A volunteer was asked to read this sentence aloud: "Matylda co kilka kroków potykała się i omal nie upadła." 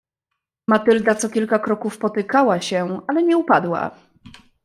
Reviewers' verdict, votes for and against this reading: rejected, 1, 2